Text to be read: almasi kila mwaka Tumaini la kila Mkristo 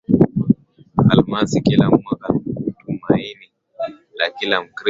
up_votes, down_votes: 11, 1